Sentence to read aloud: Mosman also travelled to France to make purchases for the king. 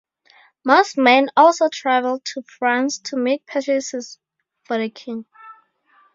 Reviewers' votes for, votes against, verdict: 4, 0, accepted